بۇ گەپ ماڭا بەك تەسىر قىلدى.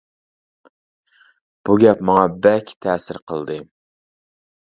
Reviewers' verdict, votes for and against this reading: accepted, 2, 0